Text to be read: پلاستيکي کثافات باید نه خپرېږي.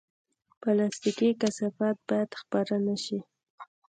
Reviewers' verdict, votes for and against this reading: rejected, 1, 2